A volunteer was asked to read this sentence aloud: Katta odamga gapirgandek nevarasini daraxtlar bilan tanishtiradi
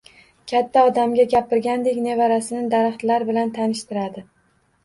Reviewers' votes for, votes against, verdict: 2, 0, accepted